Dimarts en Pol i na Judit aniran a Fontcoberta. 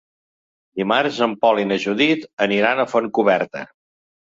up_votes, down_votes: 3, 0